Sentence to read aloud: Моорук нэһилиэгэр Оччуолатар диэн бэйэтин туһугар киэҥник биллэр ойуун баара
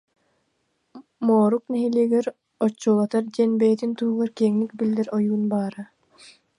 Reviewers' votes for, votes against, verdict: 1, 2, rejected